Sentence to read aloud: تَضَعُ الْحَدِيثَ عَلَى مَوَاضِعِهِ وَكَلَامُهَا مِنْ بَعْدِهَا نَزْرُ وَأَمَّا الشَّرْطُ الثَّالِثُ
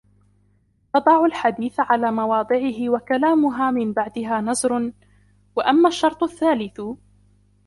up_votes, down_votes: 1, 2